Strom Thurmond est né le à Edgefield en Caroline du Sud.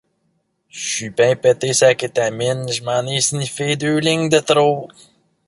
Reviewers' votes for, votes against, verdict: 0, 2, rejected